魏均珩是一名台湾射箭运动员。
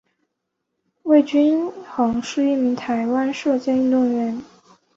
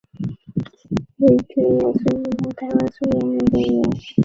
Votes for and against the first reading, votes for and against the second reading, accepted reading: 5, 0, 0, 4, first